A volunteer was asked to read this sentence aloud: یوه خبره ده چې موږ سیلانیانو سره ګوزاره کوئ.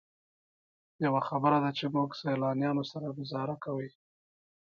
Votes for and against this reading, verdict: 2, 0, accepted